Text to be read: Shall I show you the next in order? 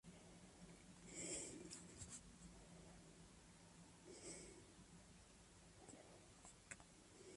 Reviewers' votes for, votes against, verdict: 0, 2, rejected